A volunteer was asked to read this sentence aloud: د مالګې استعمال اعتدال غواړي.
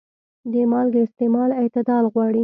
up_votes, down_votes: 2, 0